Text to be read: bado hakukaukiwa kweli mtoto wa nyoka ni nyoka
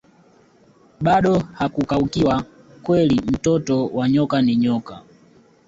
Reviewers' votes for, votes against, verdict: 1, 2, rejected